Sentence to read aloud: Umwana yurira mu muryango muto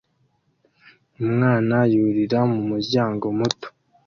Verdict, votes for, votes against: accepted, 2, 0